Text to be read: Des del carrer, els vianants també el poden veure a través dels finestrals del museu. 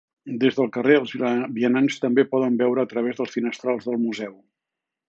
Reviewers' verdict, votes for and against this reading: rejected, 0, 2